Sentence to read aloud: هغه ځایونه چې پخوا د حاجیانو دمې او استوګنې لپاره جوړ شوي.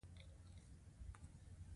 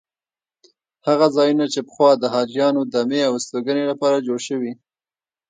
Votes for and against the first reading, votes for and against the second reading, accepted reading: 1, 2, 2, 0, second